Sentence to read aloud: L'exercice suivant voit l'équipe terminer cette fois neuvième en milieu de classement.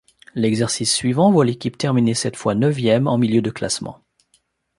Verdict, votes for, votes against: accepted, 2, 0